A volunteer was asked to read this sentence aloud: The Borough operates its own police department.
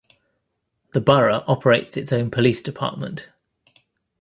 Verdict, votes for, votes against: accepted, 2, 0